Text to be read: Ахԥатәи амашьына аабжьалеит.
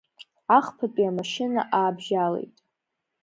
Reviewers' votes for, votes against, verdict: 2, 0, accepted